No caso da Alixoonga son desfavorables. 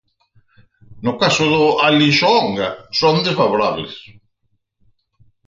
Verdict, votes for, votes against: rejected, 2, 4